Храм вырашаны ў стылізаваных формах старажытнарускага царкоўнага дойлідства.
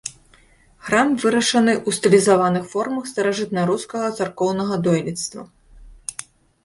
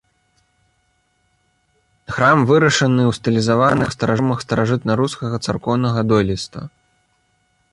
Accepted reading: first